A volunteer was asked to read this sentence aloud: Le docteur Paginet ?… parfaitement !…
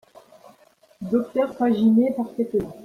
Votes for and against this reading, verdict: 0, 2, rejected